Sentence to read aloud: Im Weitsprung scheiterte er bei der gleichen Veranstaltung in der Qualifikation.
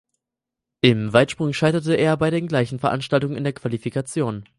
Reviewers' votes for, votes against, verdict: 2, 4, rejected